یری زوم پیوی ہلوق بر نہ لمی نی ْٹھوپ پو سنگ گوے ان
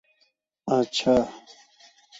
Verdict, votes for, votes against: rejected, 0, 2